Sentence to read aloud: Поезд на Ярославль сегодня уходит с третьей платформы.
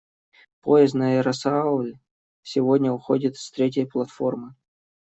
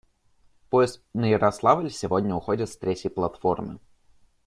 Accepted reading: second